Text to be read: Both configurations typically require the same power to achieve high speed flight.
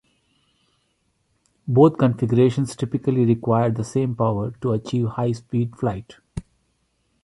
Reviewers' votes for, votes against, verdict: 2, 0, accepted